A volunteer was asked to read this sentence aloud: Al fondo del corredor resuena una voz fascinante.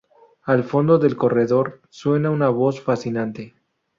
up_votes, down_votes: 2, 2